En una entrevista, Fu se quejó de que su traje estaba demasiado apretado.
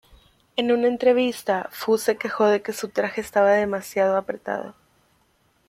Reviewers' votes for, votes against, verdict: 2, 0, accepted